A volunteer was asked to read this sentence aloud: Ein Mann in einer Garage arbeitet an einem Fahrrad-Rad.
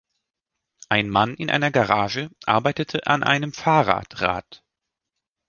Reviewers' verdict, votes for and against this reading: rejected, 1, 2